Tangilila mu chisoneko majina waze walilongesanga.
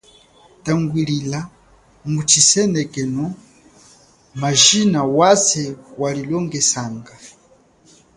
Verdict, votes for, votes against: accepted, 2, 0